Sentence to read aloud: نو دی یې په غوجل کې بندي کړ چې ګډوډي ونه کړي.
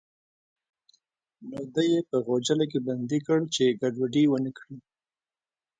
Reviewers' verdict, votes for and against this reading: rejected, 1, 2